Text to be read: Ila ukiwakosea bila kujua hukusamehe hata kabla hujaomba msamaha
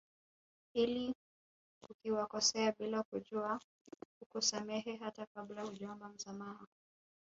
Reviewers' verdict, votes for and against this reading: rejected, 2, 3